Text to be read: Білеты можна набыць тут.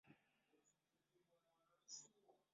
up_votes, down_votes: 0, 2